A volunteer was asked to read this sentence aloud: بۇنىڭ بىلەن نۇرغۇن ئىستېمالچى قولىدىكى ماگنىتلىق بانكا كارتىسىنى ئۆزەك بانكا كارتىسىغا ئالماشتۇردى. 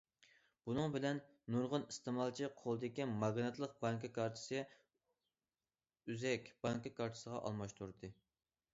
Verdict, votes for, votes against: rejected, 0, 2